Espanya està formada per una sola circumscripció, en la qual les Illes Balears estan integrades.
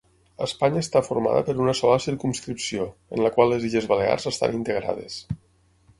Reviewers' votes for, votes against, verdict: 6, 0, accepted